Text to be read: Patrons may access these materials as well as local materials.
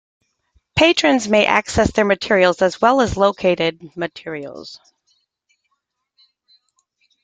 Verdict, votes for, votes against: rejected, 0, 2